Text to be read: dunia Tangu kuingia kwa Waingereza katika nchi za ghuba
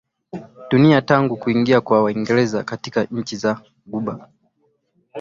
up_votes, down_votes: 34, 0